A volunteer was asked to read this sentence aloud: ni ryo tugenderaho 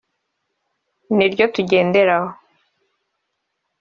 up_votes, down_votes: 2, 0